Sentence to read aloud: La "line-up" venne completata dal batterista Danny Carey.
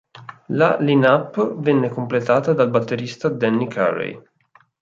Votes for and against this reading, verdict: 0, 2, rejected